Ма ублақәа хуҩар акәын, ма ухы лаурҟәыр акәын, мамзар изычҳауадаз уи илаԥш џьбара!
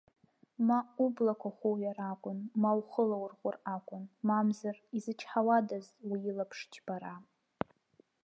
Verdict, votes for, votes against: accepted, 2, 0